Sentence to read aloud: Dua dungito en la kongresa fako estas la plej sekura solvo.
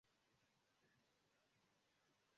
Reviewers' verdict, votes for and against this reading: rejected, 0, 2